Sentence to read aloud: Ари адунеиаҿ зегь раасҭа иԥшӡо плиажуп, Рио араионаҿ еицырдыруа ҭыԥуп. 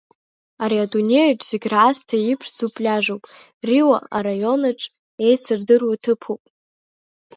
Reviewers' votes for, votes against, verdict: 1, 2, rejected